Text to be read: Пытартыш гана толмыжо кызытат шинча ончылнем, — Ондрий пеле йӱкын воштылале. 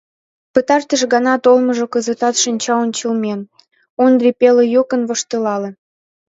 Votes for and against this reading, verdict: 0, 2, rejected